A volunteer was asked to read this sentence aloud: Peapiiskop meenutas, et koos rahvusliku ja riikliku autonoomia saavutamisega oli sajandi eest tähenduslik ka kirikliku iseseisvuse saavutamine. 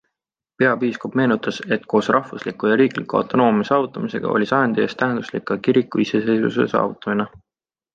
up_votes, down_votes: 2, 1